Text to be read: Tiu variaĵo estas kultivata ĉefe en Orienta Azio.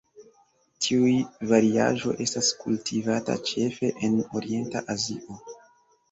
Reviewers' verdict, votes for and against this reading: rejected, 0, 2